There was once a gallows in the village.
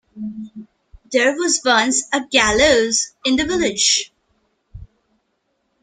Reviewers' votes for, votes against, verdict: 0, 2, rejected